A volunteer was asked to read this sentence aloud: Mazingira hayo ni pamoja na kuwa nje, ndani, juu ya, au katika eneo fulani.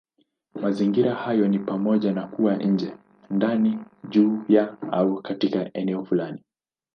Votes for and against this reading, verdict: 0, 2, rejected